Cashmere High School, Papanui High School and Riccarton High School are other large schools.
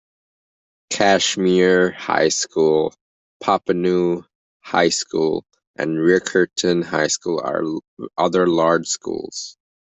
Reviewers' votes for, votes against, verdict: 1, 2, rejected